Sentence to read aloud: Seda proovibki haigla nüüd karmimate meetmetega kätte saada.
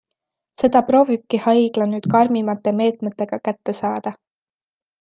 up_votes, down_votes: 2, 0